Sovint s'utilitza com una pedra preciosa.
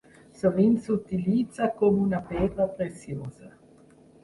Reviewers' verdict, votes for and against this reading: accepted, 3, 0